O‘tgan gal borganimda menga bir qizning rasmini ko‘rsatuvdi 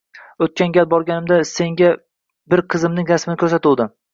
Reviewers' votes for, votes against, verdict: 0, 2, rejected